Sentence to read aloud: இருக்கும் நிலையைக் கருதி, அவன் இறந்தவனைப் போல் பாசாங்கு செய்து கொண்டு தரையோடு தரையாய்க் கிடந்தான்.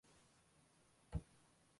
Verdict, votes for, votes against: rejected, 0, 2